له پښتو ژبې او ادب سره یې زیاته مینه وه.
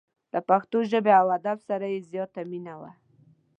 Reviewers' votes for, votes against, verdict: 2, 0, accepted